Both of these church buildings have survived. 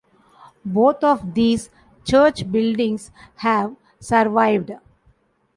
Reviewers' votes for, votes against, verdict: 2, 0, accepted